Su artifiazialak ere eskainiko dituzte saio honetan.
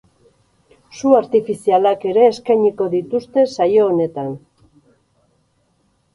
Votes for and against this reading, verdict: 2, 4, rejected